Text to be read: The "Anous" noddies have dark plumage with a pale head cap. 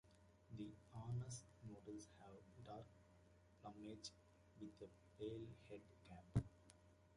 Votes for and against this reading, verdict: 1, 2, rejected